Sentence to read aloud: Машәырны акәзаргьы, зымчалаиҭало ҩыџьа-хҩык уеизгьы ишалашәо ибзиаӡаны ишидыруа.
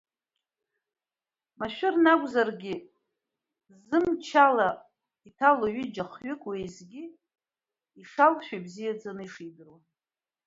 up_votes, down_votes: 1, 2